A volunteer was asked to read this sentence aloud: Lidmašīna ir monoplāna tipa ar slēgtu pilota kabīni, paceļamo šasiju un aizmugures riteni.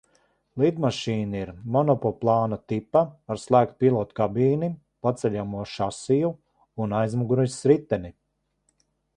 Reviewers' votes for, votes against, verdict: 0, 2, rejected